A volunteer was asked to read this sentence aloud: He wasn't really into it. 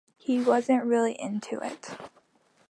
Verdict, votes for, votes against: accepted, 2, 0